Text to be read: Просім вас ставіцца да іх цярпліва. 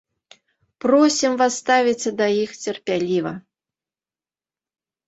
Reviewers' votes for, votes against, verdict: 0, 2, rejected